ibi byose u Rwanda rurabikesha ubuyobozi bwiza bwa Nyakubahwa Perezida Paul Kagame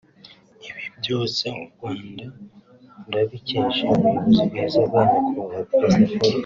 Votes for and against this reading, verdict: 1, 3, rejected